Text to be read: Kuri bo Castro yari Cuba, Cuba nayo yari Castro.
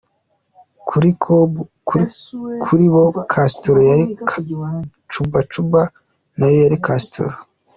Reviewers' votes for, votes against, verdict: 2, 1, accepted